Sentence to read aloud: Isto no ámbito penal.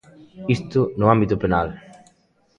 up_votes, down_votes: 1, 2